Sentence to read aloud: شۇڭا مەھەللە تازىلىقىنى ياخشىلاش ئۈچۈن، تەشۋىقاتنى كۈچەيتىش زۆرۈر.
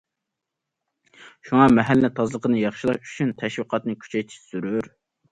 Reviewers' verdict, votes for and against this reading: accepted, 2, 0